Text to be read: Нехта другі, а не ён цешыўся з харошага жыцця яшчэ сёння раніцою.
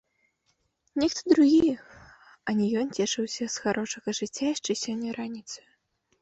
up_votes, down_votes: 1, 2